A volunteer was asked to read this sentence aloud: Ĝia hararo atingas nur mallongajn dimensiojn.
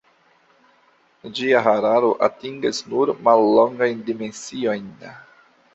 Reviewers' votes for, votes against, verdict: 2, 1, accepted